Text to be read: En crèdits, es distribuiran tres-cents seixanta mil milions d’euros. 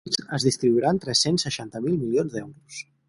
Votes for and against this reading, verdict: 0, 4, rejected